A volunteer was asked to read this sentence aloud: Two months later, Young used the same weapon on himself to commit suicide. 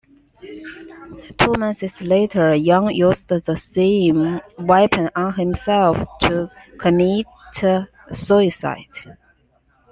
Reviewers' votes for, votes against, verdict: 2, 1, accepted